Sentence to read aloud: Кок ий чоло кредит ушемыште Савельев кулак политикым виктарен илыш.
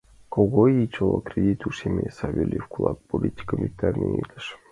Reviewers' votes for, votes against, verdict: 0, 2, rejected